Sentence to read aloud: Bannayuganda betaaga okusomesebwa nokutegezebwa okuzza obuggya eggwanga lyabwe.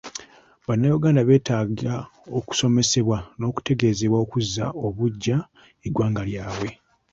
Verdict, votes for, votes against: accepted, 2, 0